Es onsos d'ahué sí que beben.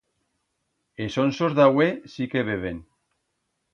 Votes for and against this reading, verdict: 2, 0, accepted